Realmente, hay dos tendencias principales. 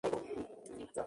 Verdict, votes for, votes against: rejected, 0, 2